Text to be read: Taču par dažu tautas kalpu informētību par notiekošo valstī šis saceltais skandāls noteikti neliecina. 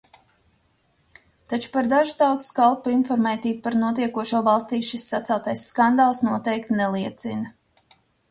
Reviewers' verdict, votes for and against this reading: accepted, 2, 0